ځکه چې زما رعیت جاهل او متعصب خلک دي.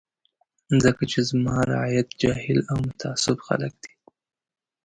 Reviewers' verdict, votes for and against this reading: accepted, 3, 0